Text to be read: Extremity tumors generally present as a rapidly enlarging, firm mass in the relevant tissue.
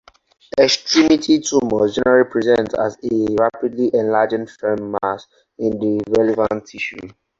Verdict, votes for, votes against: accepted, 4, 0